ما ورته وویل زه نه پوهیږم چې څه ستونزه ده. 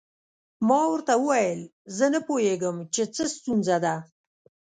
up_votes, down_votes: 2, 0